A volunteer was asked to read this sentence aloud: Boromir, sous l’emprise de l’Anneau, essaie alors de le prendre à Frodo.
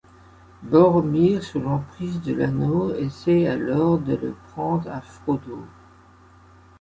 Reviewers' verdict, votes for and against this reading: accepted, 2, 1